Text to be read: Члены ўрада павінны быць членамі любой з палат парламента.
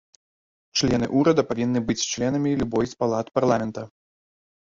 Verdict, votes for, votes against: rejected, 0, 3